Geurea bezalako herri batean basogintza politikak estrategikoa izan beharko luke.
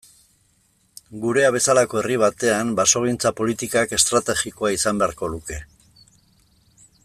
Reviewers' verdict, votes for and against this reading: rejected, 1, 2